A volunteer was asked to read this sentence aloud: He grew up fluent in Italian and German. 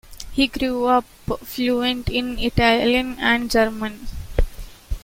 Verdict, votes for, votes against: accepted, 2, 1